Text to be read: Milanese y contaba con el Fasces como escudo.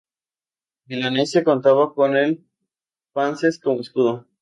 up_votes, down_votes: 0, 2